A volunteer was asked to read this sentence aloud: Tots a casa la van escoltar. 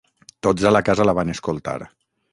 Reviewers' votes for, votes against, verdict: 0, 6, rejected